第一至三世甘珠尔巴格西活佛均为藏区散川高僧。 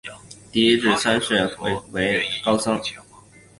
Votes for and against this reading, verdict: 4, 1, accepted